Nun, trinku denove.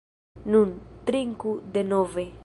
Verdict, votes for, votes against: accepted, 2, 0